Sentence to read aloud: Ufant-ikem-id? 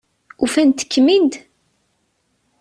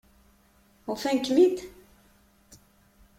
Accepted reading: first